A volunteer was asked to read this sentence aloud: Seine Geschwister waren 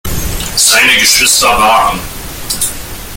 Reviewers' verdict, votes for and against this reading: accepted, 3, 2